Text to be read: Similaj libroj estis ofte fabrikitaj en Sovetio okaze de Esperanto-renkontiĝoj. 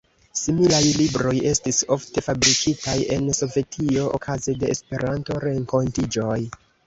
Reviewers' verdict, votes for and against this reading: accepted, 2, 0